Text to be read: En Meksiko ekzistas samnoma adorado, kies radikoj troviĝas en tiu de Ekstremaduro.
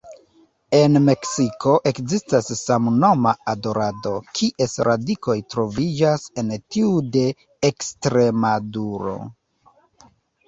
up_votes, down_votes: 1, 2